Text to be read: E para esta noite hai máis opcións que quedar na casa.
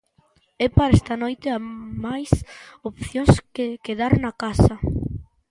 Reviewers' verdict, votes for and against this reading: rejected, 1, 2